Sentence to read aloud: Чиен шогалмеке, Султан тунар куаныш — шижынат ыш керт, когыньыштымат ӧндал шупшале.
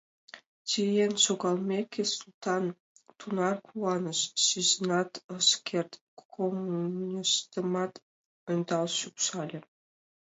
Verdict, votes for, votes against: rejected, 0, 2